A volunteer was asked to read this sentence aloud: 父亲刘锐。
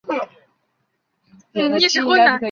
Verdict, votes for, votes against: rejected, 0, 4